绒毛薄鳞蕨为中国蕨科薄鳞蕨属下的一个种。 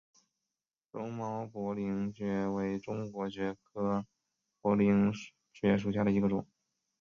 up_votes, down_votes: 2, 0